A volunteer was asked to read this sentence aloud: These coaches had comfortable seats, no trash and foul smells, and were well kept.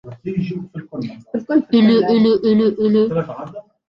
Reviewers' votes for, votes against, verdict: 0, 2, rejected